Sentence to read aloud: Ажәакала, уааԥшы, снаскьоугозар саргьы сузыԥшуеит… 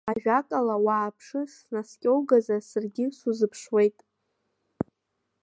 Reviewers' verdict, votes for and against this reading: accepted, 2, 0